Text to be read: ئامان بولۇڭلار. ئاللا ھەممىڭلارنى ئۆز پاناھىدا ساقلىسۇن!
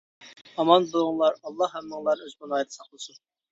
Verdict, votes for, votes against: rejected, 0, 2